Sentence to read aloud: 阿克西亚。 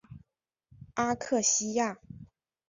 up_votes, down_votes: 1, 2